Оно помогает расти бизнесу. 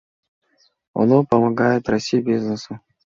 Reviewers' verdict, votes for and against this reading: accepted, 2, 0